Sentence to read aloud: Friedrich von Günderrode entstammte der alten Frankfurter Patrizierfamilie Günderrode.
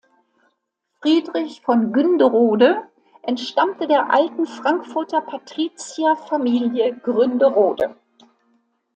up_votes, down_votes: 0, 2